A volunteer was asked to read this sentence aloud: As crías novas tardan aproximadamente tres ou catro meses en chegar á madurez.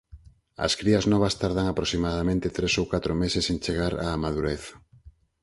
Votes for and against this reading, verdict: 4, 0, accepted